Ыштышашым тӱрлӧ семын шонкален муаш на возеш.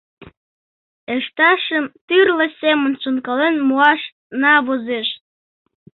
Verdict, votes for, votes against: rejected, 0, 2